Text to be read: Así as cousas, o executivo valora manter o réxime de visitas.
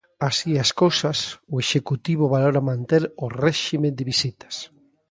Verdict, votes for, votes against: accepted, 2, 0